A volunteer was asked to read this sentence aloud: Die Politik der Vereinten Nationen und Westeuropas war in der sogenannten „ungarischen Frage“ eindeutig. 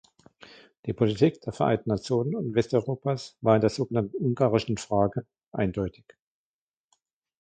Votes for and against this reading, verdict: 2, 1, accepted